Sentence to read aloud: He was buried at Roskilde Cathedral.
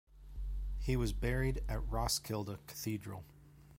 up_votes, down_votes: 2, 1